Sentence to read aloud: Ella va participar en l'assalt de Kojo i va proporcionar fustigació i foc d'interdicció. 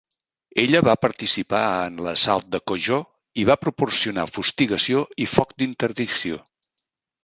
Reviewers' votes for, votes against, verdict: 2, 0, accepted